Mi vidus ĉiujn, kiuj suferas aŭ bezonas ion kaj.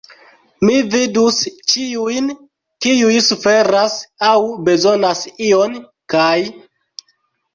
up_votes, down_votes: 0, 2